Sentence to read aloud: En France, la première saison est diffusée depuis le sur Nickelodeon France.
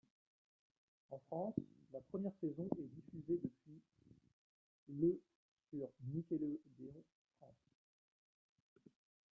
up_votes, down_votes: 0, 2